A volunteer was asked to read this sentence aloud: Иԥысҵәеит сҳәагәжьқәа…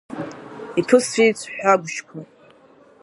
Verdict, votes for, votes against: rejected, 1, 2